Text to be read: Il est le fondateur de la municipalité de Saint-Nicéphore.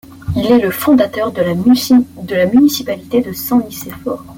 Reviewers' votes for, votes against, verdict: 0, 2, rejected